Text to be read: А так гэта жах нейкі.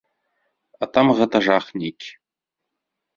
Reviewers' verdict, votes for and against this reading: rejected, 0, 2